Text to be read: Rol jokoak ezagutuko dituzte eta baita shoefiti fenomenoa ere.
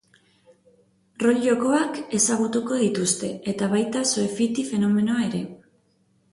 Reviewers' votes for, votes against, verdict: 4, 0, accepted